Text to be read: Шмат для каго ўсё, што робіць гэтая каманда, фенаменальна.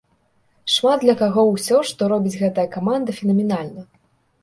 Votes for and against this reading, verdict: 2, 0, accepted